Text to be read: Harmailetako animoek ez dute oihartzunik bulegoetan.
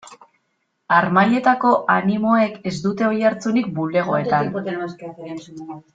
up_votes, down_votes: 1, 2